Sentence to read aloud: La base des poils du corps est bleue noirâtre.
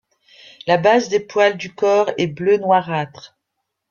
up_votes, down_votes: 2, 1